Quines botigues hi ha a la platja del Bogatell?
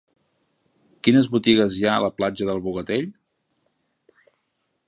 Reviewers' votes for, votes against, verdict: 3, 0, accepted